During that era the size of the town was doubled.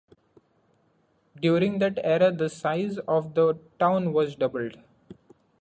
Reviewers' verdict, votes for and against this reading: accepted, 2, 0